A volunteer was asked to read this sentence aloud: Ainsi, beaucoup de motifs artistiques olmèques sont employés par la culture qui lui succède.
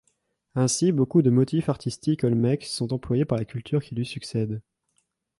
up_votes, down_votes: 2, 0